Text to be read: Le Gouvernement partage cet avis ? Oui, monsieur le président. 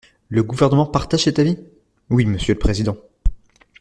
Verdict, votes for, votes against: rejected, 1, 2